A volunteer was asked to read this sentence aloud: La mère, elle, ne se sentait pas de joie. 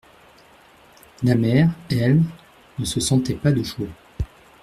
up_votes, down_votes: 2, 0